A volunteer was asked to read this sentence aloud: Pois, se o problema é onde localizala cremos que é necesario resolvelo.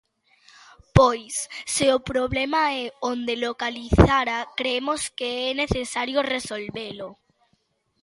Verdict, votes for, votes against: rejected, 0, 2